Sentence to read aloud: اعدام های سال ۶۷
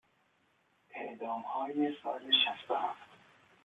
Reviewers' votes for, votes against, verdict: 0, 2, rejected